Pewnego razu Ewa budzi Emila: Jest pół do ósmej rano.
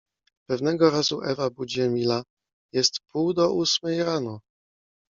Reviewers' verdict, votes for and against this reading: accepted, 2, 0